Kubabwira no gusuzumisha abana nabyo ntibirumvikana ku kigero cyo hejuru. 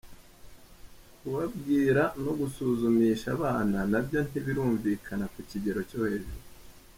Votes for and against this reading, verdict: 2, 0, accepted